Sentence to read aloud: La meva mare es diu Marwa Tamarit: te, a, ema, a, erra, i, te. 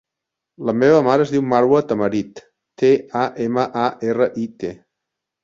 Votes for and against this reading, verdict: 4, 0, accepted